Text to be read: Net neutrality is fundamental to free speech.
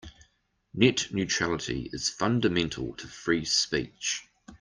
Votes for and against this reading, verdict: 2, 0, accepted